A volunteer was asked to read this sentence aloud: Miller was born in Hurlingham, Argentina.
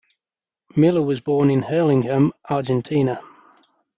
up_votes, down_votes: 2, 0